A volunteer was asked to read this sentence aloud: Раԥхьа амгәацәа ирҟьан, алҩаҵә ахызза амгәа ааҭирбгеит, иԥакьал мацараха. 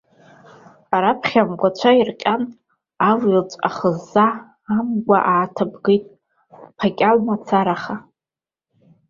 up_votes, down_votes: 0, 2